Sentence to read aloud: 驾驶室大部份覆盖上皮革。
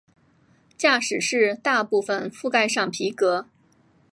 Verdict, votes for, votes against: accepted, 2, 1